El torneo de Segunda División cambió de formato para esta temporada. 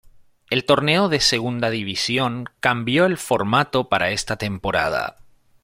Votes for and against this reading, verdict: 1, 2, rejected